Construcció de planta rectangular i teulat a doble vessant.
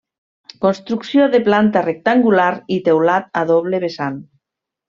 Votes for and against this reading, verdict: 3, 0, accepted